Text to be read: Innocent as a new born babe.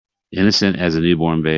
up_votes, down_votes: 0, 2